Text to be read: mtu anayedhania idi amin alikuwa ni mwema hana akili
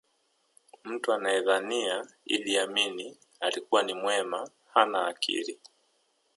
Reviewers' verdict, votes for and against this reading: rejected, 1, 2